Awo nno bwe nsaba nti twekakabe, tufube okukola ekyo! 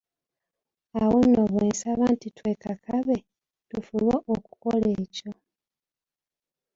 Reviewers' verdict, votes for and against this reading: accepted, 2, 0